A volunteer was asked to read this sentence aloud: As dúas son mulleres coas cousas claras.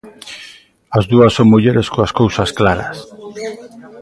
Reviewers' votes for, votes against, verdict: 1, 2, rejected